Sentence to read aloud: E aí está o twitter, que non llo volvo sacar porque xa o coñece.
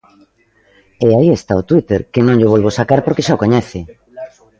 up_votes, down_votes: 2, 1